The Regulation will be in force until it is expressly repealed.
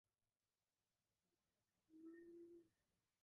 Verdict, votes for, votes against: rejected, 0, 2